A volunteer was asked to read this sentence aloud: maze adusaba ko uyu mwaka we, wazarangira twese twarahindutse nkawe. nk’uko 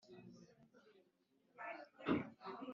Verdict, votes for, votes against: rejected, 1, 2